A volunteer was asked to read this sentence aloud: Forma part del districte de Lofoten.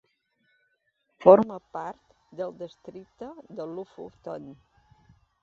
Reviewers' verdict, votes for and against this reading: accepted, 2, 0